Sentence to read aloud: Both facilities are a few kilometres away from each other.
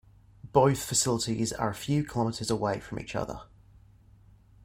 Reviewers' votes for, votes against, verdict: 0, 2, rejected